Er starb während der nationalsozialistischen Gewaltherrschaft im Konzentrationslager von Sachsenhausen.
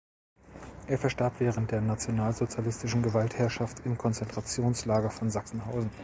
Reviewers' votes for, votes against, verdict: 1, 2, rejected